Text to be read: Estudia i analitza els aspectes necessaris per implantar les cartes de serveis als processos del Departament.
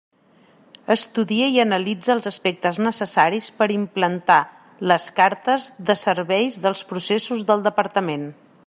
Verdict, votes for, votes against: rejected, 1, 2